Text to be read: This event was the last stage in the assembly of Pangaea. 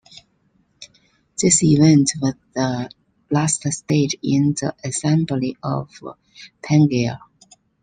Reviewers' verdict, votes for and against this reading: accepted, 2, 0